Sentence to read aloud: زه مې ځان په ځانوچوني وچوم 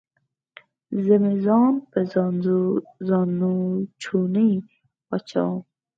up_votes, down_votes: 0, 4